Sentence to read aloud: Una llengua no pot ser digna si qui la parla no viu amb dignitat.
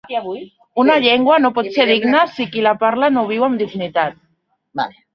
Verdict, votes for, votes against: rejected, 0, 2